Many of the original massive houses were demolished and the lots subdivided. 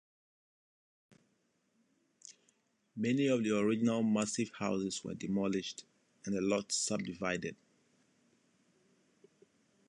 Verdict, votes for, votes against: accepted, 2, 1